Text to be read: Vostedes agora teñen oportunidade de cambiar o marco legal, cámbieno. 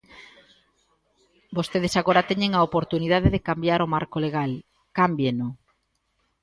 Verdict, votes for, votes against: rejected, 0, 2